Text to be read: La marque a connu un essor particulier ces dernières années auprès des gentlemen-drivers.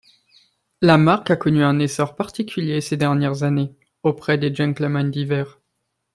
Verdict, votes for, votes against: rejected, 1, 2